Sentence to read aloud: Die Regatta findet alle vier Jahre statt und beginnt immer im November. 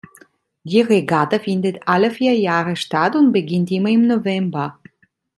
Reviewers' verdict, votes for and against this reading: accepted, 2, 0